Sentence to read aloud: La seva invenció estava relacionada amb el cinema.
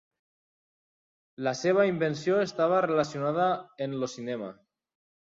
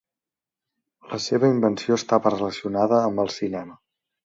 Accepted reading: second